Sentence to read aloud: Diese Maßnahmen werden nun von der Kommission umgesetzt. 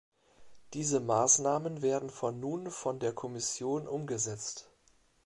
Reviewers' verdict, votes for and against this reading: rejected, 0, 2